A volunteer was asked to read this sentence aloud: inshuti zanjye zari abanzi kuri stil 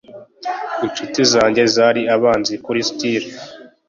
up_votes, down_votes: 2, 0